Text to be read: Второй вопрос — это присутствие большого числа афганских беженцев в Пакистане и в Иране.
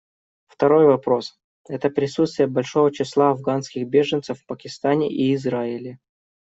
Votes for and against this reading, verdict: 0, 2, rejected